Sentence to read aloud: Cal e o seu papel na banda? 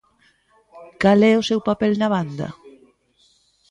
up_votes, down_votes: 1, 2